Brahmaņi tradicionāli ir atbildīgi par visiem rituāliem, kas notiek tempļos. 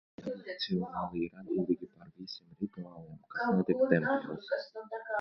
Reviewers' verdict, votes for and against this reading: rejected, 0, 2